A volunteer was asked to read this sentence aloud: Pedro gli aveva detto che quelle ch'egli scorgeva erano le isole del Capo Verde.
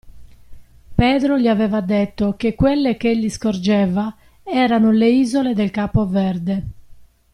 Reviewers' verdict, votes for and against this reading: accepted, 2, 0